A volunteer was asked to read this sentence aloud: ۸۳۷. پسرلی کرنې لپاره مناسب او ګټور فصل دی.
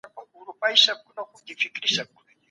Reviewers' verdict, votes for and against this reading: rejected, 0, 2